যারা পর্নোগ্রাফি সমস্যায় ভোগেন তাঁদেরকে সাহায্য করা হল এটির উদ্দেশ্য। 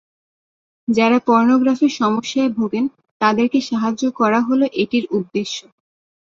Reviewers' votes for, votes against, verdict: 2, 0, accepted